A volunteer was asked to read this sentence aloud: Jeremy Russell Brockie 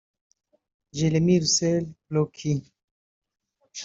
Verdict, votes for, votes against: rejected, 0, 2